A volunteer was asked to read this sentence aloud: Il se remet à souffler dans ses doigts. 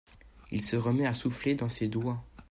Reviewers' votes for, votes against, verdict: 2, 0, accepted